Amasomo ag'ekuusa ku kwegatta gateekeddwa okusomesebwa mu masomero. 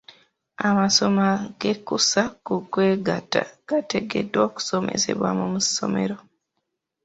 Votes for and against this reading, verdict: 0, 2, rejected